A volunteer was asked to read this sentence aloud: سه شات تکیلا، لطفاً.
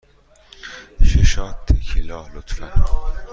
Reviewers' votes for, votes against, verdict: 2, 0, accepted